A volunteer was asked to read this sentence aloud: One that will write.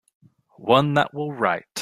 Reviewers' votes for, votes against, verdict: 3, 0, accepted